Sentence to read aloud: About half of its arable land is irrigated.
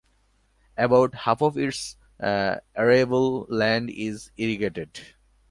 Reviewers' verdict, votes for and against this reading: accepted, 2, 1